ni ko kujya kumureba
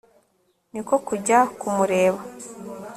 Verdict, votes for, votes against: accepted, 2, 0